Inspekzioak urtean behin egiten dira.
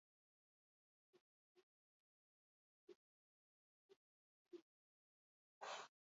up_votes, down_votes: 0, 4